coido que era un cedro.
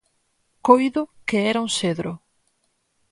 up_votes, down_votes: 4, 0